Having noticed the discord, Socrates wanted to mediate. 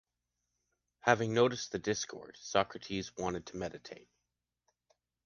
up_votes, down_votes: 0, 2